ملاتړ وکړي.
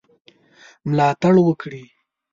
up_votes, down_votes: 2, 0